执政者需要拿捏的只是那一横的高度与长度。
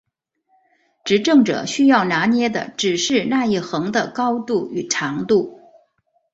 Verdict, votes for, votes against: accepted, 2, 0